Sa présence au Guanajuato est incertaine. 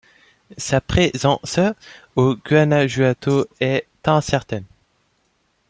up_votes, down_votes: 2, 0